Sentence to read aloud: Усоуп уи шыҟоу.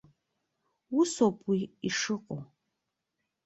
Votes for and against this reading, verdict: 1, 2, rejected